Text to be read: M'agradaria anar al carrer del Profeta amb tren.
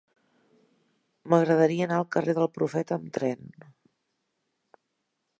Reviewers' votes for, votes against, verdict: 3, 1, accepted